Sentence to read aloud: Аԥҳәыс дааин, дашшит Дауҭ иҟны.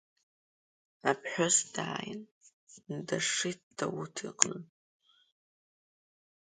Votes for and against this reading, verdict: 2, 1, accepted